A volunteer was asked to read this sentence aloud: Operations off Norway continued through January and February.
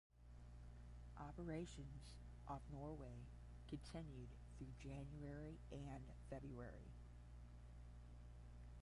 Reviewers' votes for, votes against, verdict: 5, 5, rejected